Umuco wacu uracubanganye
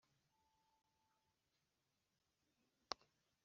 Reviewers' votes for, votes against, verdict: 1, 2, rejected